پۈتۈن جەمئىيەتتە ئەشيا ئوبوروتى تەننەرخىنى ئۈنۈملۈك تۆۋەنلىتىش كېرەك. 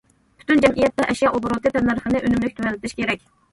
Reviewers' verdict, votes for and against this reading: rejected, 1, 2